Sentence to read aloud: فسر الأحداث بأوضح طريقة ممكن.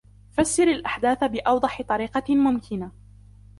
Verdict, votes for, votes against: accepted, 3, 0